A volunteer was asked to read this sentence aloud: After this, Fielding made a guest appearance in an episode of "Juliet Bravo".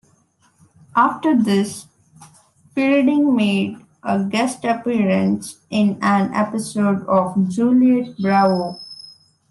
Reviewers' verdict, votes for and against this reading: accepted, 2, 1